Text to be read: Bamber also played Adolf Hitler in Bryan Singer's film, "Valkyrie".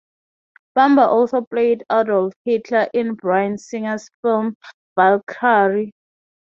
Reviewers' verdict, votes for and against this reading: rejected, 0, 3